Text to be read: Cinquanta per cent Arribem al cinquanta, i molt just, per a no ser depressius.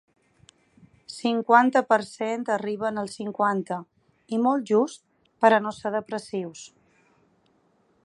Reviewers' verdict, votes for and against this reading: rejected, 0, 8